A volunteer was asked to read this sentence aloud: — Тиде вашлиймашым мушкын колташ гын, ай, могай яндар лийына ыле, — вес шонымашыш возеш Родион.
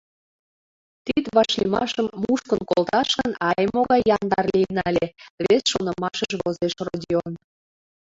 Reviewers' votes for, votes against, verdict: 1, 2, rejected